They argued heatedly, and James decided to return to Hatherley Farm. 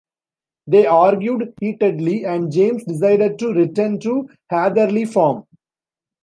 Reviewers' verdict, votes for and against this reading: rejected, 1, 2